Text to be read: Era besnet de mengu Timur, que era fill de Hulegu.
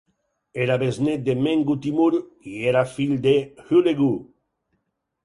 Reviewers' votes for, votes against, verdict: 2, 4, rejected